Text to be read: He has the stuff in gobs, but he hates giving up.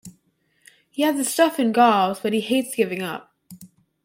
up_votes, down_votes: 1, 2